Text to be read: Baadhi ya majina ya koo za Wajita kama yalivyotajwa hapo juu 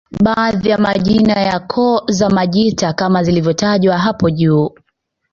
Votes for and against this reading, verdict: 1, 2, rejected